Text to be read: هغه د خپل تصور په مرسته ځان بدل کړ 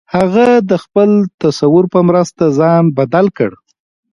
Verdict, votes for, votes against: rejected, 1, 2